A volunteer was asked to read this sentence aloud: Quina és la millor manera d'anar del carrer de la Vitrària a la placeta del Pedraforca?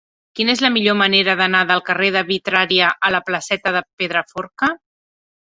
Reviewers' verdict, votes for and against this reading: rejected, 0, 2